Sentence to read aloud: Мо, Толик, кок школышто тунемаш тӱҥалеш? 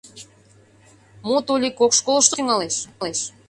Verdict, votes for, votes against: rejected, 0, 2